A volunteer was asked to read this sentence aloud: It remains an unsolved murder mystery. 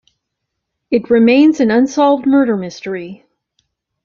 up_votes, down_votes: 2, 0